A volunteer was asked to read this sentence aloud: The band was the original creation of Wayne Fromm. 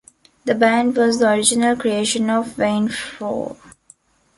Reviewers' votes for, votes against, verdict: 2, 1, accepted